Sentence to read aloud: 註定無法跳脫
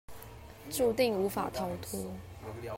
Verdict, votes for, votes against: accepted, 2, 1